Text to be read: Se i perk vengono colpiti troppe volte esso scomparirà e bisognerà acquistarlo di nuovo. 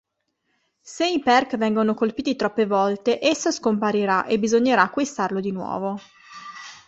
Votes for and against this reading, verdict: 2, 0, accepted